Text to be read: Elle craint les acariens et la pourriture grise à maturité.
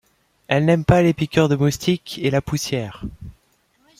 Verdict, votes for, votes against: rejected, 0, 2